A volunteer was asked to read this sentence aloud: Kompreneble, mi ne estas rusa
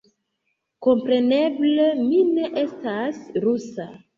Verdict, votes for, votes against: accepted, 2, 1